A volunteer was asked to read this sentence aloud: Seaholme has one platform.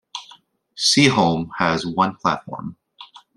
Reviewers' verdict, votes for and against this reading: accepted, 2, 0